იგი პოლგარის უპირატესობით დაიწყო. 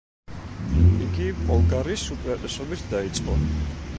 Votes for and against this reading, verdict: 1, 2, rejected